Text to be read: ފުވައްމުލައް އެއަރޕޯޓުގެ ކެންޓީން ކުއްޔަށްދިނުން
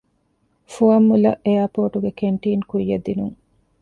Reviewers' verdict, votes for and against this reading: accepted, 2, 0